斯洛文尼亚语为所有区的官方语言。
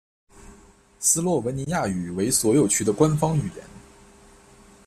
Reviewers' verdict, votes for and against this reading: accepted, 2, 0